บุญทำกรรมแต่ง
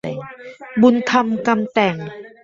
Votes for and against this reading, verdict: 0, 2, rejected